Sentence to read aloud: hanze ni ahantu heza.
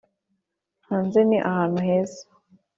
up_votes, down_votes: 2, 0